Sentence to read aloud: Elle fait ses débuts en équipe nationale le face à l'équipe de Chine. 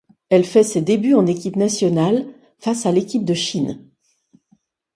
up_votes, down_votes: 1, 2